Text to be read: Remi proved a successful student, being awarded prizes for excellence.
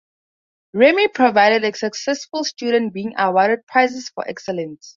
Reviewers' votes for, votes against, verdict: 0, 4, rejected